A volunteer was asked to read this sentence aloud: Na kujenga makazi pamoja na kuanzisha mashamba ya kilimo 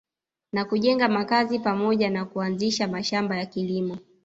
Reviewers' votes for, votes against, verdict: 0, 2, rejected